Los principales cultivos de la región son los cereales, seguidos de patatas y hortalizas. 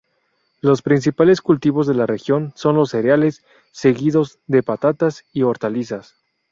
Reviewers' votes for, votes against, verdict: 2, 0, accepted